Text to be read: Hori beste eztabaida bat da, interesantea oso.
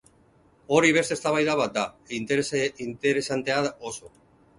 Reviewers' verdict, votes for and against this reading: rejected, 0, 4